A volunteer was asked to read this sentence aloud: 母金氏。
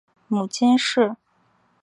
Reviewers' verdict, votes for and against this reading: accepted, 3, 0